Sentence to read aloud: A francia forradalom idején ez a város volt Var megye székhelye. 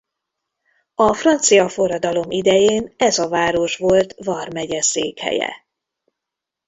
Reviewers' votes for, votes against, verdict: 0, 2, rejected